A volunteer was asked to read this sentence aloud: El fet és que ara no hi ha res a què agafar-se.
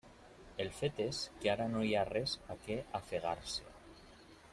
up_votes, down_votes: 0, 2